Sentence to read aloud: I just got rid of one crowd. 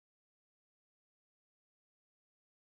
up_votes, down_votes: 0, 2